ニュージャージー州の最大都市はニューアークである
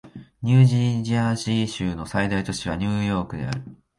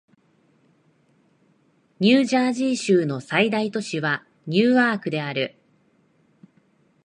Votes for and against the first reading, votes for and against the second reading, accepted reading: 0, 2, 2, 0, second